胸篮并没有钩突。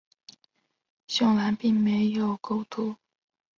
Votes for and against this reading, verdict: 4, 0, accepted